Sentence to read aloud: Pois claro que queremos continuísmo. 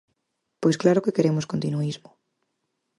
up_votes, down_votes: 4, 0